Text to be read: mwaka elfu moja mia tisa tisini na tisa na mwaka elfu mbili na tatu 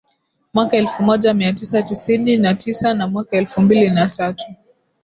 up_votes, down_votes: 0, 2